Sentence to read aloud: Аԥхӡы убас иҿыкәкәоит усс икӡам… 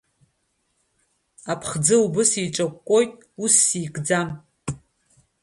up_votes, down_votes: 2, 0